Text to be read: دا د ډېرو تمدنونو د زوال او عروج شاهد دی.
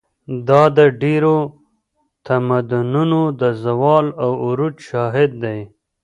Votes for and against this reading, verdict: 0, 2, rejected